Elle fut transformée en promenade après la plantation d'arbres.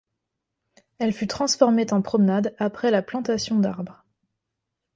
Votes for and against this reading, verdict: 1, 2, rejected